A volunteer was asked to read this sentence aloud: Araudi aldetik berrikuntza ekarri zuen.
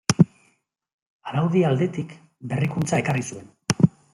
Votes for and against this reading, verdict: 2, 0, accepted